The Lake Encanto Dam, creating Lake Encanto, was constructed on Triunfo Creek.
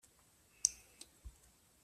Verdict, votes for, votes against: rejected, 0, 2